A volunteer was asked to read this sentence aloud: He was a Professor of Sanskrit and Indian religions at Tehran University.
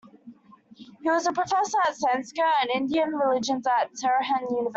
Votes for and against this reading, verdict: 0, 2, rejected